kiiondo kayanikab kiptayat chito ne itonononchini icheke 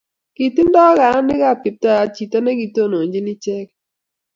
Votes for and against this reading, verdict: 0, 2, rejected